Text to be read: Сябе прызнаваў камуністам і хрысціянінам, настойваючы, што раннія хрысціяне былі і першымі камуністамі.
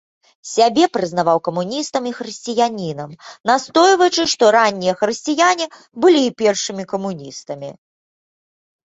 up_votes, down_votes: 2, 0